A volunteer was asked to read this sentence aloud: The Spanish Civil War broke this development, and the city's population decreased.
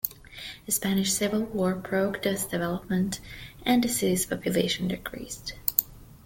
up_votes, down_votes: 2, 0